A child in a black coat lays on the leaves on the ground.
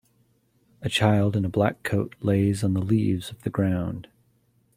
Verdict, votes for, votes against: accepted, 2, 0